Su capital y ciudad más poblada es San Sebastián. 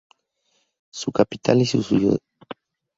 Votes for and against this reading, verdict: 0, 4, rejected